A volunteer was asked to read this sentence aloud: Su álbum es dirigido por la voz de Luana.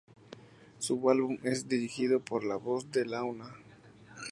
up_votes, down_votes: 0, 2